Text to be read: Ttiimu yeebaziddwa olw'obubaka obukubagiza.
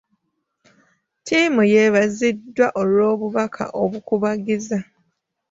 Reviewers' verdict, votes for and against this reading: accepted, 2, 1